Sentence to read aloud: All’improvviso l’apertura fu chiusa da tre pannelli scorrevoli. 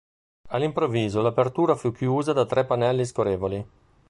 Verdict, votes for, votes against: rejected, 1, 2